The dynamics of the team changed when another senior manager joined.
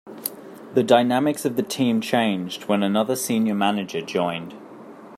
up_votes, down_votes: 2, 0